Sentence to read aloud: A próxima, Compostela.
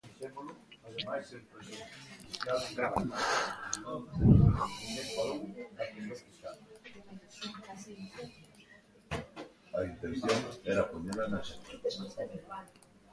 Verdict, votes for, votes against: rejected, 0, 2